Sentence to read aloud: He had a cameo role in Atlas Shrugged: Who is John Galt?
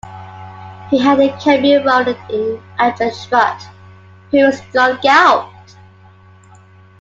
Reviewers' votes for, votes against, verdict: 1, 2, rejected